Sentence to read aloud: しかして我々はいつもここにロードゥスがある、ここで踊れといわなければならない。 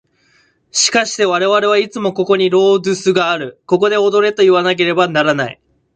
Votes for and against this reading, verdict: 2, 0, accepted